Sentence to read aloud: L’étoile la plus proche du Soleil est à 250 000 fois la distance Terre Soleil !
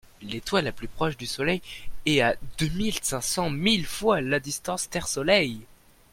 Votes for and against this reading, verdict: 0, 2, rejected